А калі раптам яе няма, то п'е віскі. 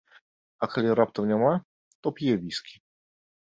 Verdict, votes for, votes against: rejected, 1, 2